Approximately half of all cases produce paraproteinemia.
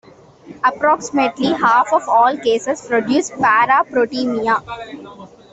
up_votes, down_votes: 0, 2